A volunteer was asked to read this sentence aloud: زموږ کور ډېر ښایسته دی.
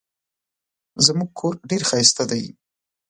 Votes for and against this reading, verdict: 2, 0, accepted